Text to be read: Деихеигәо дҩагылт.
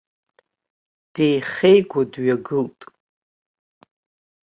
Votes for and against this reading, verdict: 2, 0, accepted